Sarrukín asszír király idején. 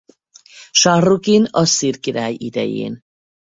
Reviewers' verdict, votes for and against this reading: rejected, 2, 2